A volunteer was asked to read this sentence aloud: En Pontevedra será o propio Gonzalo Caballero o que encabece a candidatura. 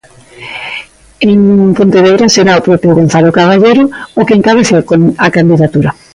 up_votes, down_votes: 0, 2